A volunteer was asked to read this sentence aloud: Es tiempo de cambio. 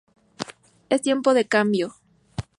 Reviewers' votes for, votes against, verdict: 2, 0, accepted